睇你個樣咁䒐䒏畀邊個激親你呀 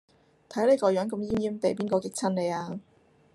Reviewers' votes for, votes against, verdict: 0, 2, rejected